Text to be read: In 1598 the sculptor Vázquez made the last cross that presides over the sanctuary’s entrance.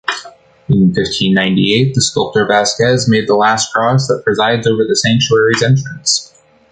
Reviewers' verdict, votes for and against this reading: rejected, 0, 2